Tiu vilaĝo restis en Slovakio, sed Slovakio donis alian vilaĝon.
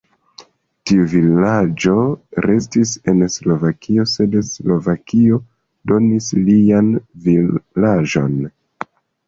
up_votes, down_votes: 0, 2